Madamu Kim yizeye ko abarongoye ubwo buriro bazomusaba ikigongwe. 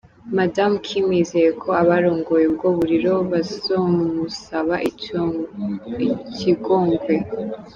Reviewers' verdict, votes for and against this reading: accepted, 2, 1